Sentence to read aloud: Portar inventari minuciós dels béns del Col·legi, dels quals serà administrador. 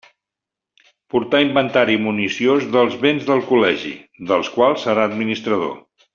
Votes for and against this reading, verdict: 0, 2, rejected